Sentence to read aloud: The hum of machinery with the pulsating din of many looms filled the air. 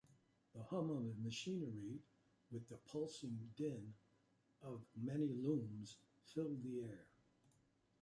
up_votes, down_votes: 2, 3